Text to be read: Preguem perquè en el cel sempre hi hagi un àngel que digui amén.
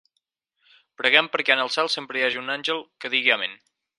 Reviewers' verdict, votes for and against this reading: accepted, 4, 0